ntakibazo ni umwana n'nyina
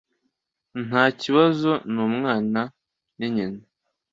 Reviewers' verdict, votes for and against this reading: accepted, 2, 0